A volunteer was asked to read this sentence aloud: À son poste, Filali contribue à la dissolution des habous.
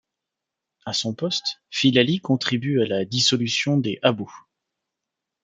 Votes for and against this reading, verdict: 2, 0, accepted